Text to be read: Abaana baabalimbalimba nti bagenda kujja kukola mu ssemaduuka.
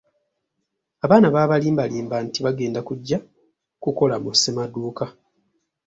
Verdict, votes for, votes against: accepted, 2, 0